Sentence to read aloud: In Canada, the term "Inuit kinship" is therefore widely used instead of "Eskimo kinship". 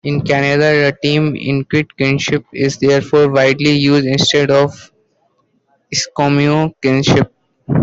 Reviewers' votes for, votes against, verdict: 0, 2, rejected